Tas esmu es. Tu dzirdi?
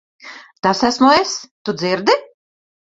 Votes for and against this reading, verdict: 2, 0, accepted